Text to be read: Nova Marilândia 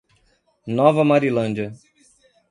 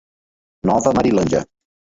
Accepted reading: first